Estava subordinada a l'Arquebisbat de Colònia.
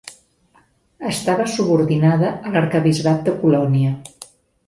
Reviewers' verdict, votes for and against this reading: accepted, 2, 0